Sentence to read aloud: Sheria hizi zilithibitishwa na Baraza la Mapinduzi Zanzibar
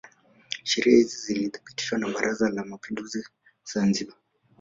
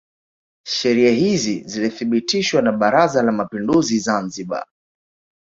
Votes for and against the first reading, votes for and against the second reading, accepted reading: 0, 2, 2, 0, second